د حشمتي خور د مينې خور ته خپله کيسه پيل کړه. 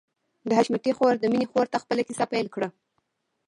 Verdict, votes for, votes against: accepted, 2, 1